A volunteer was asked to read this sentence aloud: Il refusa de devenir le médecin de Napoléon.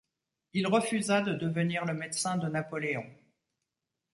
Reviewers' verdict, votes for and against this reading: accepted, 2, 1